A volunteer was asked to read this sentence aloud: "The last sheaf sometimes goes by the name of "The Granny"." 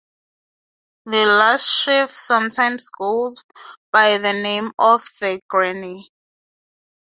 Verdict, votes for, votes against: accepted, 6, 0